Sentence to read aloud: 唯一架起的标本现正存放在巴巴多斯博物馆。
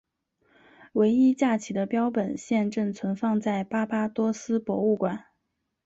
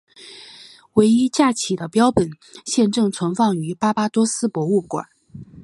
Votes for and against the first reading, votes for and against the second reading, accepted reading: 2, 0, 2, 2, first